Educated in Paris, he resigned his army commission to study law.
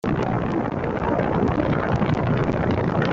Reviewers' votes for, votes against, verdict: 0, 2, rejected